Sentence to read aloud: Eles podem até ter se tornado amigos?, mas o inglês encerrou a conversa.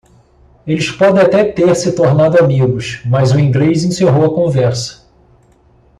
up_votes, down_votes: 2, 0